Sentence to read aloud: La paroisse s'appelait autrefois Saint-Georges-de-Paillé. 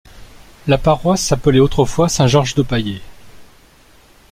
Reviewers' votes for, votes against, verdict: 2, 0, accepted